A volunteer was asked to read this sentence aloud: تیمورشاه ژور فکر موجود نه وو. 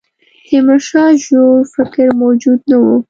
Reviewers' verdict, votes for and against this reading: rejected, 1, 2